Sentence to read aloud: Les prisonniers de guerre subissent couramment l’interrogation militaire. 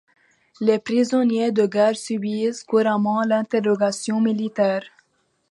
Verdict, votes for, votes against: accepted, 2, 0